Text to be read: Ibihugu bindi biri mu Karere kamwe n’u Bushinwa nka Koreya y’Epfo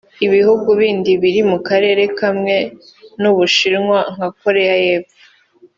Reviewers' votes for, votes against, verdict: 2, 1, accepted